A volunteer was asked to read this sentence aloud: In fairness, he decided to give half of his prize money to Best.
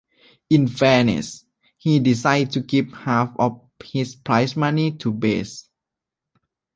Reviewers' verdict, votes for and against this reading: accepted, 3, 1